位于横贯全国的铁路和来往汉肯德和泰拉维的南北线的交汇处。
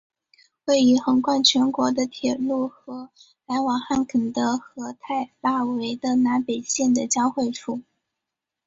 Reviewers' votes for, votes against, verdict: 5, 0, accepted